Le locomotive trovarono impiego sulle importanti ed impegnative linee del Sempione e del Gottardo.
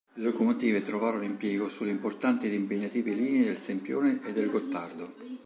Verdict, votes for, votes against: rejected, 1, 2